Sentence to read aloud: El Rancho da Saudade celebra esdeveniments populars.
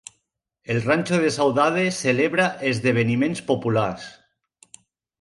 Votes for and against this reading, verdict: 0, 2, rejected